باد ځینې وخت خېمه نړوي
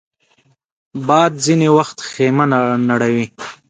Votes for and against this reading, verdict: 1, 2, rejected